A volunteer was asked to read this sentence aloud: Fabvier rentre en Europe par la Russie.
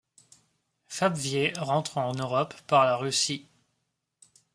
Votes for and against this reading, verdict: 2, 0, accepted